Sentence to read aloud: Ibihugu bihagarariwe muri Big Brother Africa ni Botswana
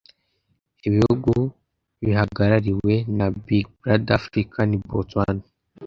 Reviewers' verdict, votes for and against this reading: rejected, 1, 2